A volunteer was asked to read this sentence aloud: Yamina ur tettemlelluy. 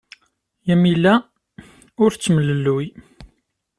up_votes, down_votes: 0, 2